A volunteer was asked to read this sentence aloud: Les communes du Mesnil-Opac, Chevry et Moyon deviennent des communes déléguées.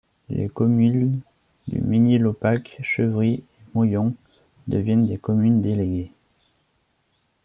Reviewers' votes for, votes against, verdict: 1, 2, rejected